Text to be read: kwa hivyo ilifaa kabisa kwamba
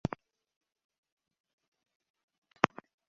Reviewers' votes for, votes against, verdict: 0, 3, rejected